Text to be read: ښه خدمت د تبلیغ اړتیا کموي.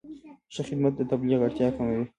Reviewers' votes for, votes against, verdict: 2, 1, accepted